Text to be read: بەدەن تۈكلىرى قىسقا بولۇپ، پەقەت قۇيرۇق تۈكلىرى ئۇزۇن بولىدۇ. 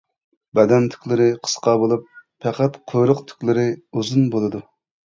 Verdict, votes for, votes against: accepted, 2, 0